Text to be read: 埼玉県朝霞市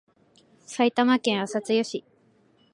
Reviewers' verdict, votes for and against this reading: rejected, 0, 2